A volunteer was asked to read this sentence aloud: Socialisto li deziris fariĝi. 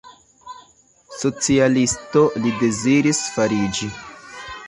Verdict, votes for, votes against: rejected, 0, 2